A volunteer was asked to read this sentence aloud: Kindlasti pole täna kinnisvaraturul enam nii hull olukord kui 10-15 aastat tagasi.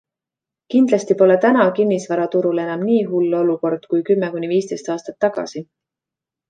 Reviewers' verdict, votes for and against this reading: rejected, 0, 2